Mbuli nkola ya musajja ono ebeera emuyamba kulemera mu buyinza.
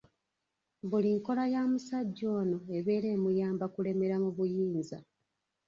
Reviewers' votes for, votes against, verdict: 2, 0, accepted